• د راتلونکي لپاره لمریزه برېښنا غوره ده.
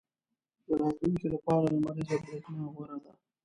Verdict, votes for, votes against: rejected, 0, 2